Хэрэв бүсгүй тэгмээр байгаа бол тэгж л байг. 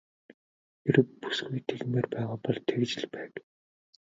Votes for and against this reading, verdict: 0, 2, rejected